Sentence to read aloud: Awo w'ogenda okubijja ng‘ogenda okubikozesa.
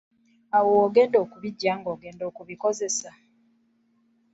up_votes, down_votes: 1, 2